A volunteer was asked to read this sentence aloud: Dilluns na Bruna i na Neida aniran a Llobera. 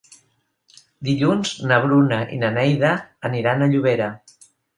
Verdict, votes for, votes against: accepted, 3, 0